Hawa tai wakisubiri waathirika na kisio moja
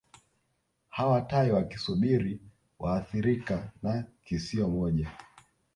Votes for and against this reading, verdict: 2, 1, accepted